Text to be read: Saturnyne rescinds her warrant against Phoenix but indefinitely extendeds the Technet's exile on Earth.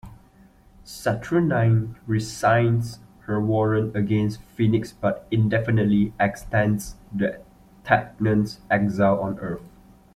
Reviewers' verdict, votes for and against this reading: rejected, 0, 2